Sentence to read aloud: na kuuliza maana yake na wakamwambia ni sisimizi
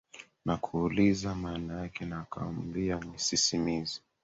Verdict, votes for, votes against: rejected, 0, 2